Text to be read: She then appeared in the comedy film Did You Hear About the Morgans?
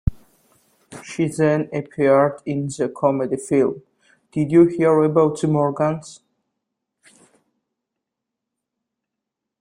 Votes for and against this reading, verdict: 2, 0, accepted